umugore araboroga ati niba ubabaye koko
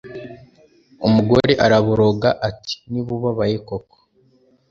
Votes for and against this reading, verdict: 3, 0, accepted